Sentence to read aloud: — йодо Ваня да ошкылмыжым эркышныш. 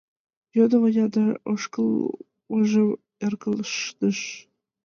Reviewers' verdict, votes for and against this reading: rejected, 0, 2